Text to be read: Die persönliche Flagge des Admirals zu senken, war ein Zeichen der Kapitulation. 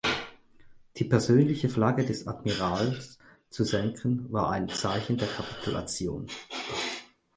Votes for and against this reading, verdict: 4, 0, accepted